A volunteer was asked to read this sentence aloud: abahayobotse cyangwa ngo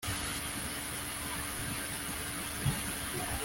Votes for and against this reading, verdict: 0, 2, rejected